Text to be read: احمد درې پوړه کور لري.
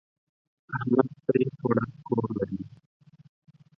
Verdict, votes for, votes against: rejected, 2, 6